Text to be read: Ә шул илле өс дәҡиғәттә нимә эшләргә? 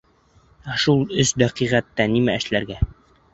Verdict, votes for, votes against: rejected, 2, 3